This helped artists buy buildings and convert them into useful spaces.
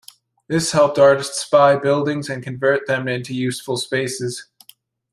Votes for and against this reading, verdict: 2, 0, accepted